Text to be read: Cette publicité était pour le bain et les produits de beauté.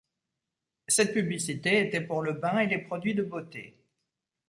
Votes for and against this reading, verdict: 2, 0, accepted